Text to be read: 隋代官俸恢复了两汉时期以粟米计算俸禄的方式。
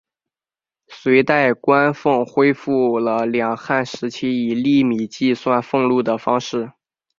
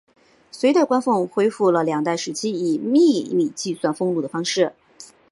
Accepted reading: first